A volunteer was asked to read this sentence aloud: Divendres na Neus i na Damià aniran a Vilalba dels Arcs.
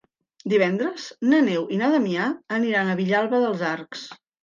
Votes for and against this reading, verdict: 0, 2, rejected